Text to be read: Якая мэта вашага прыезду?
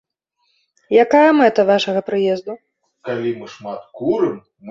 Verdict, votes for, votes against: rejected, 1, 2